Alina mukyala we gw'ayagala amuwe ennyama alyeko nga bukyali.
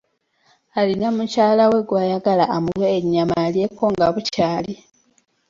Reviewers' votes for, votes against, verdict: 2, 1, accepted